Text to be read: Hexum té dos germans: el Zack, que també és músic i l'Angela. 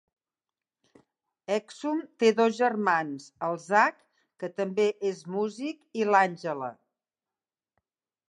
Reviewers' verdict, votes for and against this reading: accepted, 2, 1